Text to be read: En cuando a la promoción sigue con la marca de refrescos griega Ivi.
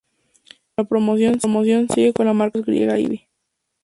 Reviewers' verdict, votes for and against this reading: rejected, 0, 2